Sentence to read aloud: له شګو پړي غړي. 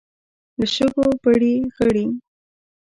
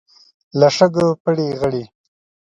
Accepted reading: second